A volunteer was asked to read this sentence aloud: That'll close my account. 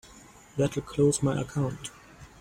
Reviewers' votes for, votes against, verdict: 2, 0, accepted